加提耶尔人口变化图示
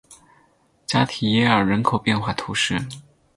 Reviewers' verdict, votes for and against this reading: accepted, 8, 0